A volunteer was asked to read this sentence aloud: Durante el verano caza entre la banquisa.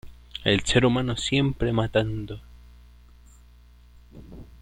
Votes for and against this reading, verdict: 0, 2, rejected